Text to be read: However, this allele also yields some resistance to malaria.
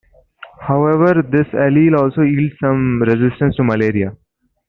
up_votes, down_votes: 2, 1